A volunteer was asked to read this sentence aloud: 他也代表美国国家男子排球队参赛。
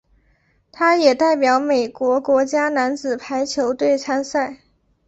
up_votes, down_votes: 2, 0